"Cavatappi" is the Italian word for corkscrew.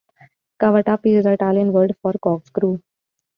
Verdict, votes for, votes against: accepted, 2, 0